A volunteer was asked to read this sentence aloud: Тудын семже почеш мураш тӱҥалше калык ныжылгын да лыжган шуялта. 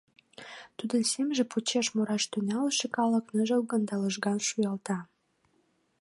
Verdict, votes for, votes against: accepted, 2, 0